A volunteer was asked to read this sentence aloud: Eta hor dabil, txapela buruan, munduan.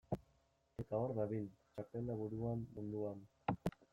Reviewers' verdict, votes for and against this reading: rejected, 1, 2